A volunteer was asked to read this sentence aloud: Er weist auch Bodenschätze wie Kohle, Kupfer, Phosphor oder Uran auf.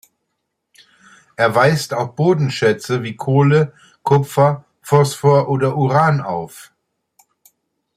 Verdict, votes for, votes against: accepted, 2, 0